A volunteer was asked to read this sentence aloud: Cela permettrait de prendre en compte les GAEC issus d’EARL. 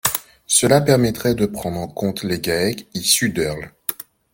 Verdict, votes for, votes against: accepted, 2, 1